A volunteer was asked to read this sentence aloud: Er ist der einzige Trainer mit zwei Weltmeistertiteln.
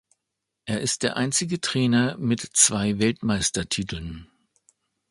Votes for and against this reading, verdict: 2, 0, accepted